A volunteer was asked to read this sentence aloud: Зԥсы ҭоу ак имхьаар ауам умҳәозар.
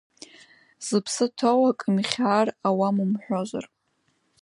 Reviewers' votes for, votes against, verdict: 1, 2, rejected